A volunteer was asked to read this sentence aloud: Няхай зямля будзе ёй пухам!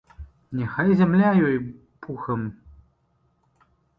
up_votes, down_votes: 0, 2